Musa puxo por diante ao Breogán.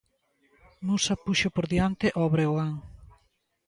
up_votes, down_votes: 2, 0